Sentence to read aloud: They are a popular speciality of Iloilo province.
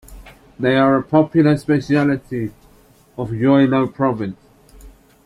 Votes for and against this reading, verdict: 0, 2, rejected